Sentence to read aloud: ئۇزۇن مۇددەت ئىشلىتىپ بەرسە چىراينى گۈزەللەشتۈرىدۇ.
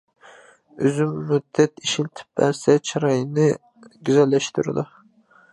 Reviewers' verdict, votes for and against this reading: rejected, 0, 2